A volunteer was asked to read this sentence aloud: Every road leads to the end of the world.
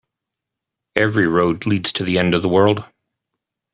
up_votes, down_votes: 2, 0